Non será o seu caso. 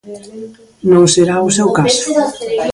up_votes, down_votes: 0, 2